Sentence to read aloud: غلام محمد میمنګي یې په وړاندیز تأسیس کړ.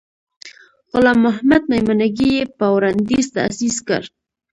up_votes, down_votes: 2, 1